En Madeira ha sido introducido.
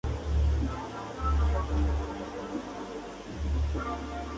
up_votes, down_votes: 0, 2